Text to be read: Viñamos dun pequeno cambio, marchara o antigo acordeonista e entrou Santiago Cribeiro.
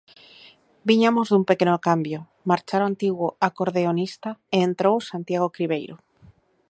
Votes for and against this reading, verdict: 0, 2, rejected